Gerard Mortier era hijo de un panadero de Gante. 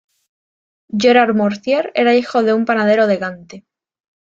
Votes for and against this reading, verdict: 2, 0, accepted